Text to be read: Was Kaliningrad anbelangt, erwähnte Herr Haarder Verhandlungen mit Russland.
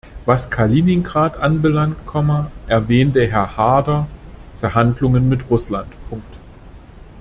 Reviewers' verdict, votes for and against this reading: rejected, 1, 2